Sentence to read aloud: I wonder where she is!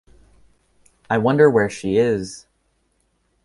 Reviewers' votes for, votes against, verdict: 2, 0, accepted